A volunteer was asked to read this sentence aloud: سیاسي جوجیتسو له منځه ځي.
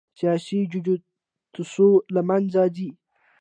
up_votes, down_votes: 1, 2